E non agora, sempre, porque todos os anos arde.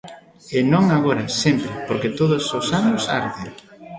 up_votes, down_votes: 2, 0